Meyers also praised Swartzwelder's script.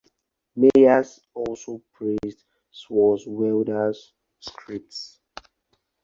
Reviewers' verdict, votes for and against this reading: rejected, 0, 4